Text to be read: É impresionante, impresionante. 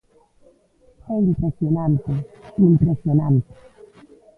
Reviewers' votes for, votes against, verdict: 0, 2, rejected